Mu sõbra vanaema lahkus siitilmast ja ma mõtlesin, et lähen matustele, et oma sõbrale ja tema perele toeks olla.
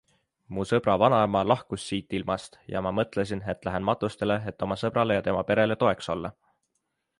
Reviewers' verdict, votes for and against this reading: accepted, 2, 0